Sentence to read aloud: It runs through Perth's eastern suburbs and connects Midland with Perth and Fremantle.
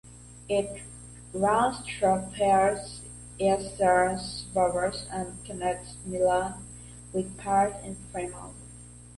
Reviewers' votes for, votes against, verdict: 1, 2, rejected